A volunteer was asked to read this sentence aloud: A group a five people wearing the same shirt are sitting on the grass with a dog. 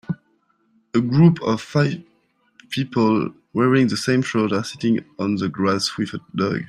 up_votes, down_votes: 3, 0